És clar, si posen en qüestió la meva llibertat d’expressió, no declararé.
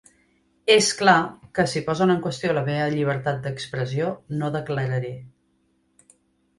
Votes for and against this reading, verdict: 2, 3, rejected